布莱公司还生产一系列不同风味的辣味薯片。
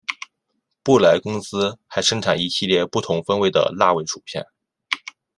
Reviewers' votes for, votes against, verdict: 2, 0, accepted